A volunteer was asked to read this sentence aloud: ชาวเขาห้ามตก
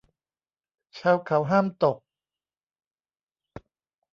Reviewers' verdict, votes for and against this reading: accepted, 2, 1